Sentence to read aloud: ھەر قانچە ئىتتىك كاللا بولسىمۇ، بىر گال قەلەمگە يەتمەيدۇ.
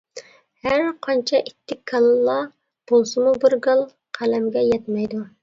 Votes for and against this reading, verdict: 2, 0, accepted